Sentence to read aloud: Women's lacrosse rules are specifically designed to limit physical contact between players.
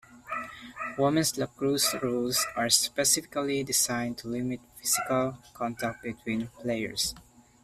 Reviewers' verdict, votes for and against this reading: rejected, 0, 2